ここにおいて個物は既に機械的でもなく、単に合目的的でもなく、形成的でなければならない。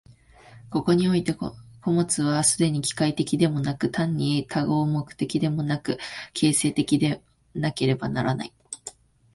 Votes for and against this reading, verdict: 1, 2, rejected